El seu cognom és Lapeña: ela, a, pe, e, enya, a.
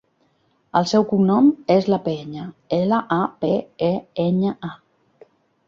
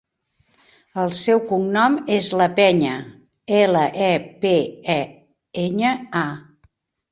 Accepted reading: first